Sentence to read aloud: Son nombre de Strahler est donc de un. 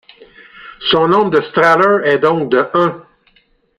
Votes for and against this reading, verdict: 2, 1, accepted